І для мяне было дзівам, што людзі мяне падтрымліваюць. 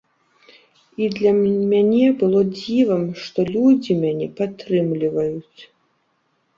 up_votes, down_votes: 0, 2